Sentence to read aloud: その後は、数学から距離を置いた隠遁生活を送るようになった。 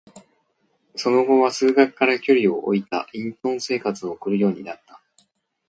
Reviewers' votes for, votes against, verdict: 2, 0, accepted